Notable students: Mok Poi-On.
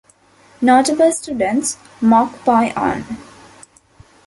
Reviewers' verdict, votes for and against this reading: accepted, 2, 1